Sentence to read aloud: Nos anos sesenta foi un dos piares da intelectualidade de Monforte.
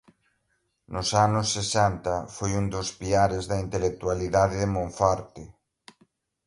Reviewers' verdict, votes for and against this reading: accepted, 2, 0